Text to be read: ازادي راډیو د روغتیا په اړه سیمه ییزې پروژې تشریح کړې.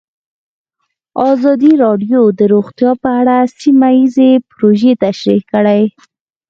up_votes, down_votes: 4, 0